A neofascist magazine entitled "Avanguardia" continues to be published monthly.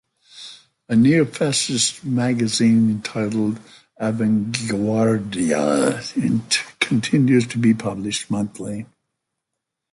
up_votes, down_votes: 1, 2